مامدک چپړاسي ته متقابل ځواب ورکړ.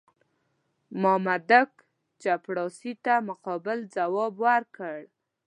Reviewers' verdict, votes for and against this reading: rejected, 1, 2